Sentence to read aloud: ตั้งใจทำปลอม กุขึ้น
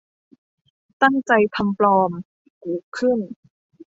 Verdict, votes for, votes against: accepted, 2, 0